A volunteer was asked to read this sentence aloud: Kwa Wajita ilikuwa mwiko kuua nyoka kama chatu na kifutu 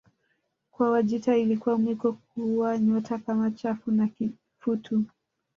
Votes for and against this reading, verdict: 2, 0, accepted